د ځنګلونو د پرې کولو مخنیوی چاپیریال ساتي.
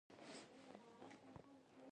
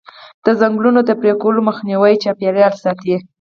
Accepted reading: second